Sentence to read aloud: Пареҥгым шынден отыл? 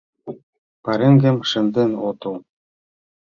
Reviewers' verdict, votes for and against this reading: accepted, 2, 0